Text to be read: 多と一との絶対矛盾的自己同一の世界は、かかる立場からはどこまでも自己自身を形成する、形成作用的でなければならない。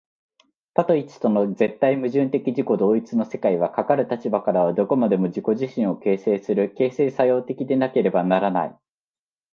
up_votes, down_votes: 1, 2